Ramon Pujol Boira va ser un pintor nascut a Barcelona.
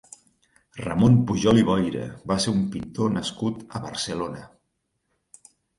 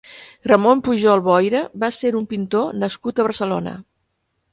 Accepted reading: second